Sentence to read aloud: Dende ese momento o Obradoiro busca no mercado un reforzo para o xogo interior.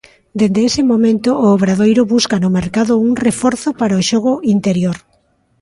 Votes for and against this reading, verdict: 2, 0, accepted